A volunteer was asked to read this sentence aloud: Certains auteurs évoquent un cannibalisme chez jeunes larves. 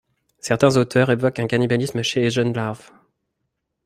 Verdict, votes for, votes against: rejected, 1, 2